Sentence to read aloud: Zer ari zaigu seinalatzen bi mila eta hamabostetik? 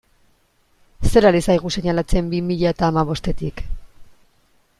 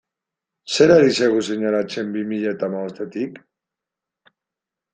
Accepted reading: first